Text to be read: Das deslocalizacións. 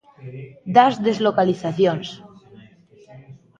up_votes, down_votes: 2, 0